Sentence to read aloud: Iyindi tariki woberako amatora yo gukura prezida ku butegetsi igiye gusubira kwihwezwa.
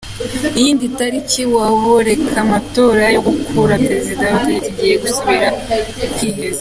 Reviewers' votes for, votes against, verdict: 0, 2, rejected